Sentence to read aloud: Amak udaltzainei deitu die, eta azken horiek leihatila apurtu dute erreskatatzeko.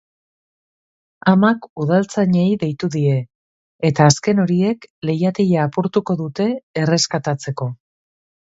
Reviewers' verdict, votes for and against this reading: rejected, 1, 2